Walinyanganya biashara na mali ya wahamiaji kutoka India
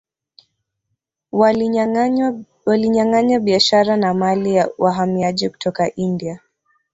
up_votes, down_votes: 0, 4